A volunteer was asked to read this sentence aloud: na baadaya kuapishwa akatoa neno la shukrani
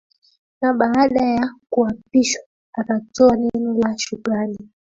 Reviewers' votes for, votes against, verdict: 0, 2, rejected